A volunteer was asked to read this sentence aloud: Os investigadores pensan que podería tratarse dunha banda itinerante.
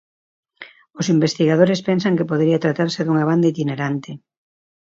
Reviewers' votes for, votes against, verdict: 2, 1, accepted